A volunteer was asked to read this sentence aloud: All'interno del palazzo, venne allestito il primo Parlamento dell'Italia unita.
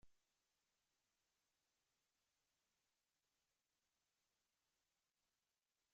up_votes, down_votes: 0, 2